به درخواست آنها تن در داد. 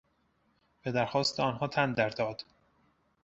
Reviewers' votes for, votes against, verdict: 2, 0, accepted